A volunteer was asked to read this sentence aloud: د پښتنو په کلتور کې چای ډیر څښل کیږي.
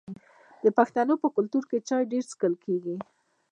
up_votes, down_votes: 2, 1